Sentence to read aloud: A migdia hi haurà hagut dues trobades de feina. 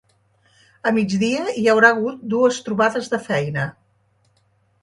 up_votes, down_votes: 2, 0